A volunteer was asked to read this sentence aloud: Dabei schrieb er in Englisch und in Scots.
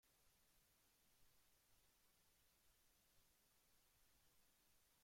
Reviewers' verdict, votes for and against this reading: rejected, 0, 2